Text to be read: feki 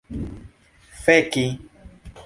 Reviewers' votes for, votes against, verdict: 2, 0, accepted